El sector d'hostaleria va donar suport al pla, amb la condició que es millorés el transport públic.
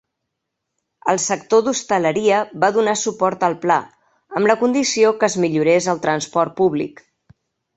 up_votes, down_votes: 3, 0